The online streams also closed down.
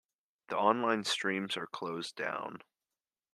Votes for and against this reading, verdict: 1, 2, rejected